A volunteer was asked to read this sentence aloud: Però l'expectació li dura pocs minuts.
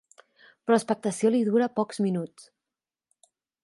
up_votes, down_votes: 3, 4